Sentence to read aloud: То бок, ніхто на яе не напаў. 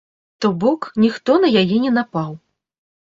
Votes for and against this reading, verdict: 2, 0, accepted